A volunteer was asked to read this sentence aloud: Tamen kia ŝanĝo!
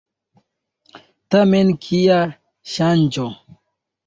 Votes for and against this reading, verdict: 2, 1, accepted